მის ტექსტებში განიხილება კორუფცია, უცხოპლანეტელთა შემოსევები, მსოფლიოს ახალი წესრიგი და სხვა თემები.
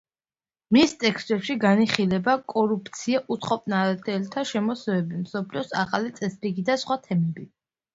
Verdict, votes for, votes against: accepted, 2, 1